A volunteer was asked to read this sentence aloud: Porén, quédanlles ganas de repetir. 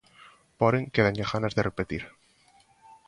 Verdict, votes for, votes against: rejected, 0, 2